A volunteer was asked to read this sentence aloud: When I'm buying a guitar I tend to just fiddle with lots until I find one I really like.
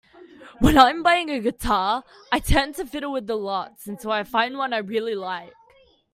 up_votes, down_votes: 0, 2